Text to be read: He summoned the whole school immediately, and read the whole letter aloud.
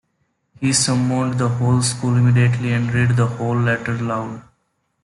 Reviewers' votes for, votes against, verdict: 1, 2, rejected